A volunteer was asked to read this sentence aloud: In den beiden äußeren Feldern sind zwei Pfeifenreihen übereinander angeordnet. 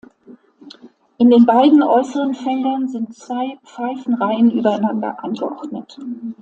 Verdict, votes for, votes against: accepted, 2, 0